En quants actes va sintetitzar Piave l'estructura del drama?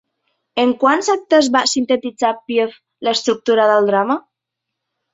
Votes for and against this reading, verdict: 2, 0, accepted